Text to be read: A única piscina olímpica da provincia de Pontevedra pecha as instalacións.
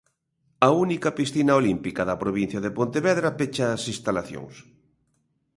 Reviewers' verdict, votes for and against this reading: accepted, 2, 0